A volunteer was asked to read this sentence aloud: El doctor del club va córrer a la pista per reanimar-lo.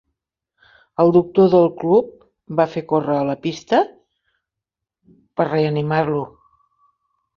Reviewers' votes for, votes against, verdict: 0, 3, rejected